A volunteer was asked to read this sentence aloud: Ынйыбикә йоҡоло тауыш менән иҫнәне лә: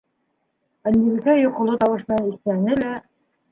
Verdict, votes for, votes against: accepted, 2, 0